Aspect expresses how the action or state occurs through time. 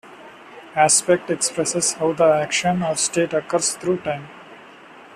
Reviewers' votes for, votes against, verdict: 2, 0, accepted